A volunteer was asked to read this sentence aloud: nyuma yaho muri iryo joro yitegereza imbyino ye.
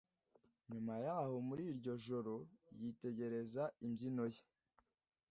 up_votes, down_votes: 2, 0